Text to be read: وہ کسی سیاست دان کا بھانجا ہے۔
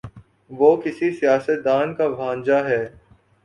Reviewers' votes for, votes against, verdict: 3, 0, accepted